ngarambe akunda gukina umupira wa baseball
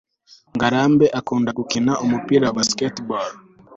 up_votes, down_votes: 3, 0